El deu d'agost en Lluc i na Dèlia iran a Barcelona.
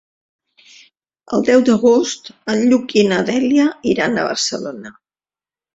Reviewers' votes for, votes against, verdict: 3, 0, accepted